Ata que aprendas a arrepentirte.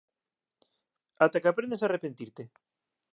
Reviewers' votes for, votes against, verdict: 2, 0, accepted